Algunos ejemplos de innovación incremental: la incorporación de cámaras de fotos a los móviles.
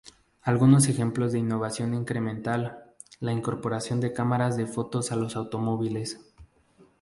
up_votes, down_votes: 0, 2